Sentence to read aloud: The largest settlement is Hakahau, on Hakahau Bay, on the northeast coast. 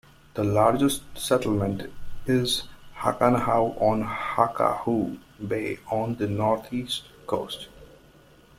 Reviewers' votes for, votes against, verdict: 1, 2, rejected